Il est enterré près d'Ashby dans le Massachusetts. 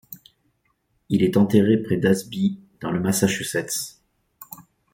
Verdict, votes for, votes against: rejected, 1, 2